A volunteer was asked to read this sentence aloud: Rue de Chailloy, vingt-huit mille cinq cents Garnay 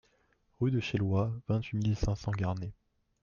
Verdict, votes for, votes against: accepted, 2, 0